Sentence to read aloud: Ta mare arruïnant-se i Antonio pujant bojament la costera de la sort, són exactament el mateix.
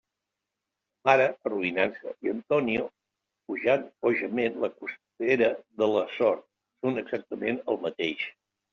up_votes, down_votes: 1, 2